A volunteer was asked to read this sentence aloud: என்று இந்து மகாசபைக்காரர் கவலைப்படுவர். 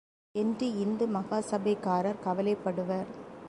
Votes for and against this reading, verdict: 3, 0, accepted